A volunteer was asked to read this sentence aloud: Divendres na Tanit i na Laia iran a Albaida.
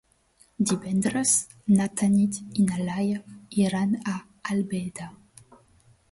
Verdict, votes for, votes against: rejected, 1, 2